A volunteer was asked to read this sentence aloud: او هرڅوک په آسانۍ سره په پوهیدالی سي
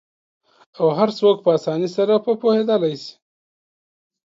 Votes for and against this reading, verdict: 2, 0, accepted